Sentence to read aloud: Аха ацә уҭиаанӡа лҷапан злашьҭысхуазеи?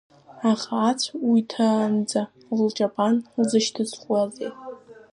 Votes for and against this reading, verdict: 0, 2, rejected